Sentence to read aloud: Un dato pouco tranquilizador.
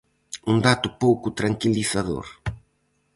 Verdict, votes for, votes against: accepted, 4, 0